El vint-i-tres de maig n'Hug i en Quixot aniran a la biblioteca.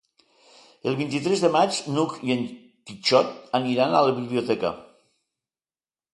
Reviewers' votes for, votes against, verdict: 2, 0, accepted